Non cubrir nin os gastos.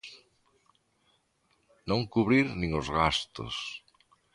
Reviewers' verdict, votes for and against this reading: accepted, 3, 0